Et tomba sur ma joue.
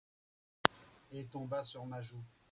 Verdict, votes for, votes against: rejected, 1, 2